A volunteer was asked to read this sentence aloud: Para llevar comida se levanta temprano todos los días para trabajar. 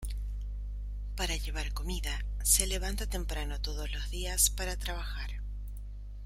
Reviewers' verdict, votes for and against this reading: rejected, 1, 2